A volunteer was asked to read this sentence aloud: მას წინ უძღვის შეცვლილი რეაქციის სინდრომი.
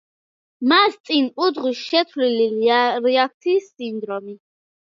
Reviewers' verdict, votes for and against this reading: accepted, 2, 0